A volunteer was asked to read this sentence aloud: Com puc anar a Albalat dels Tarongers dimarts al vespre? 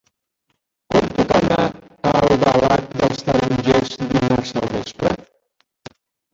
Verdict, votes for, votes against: rejected, 1, 2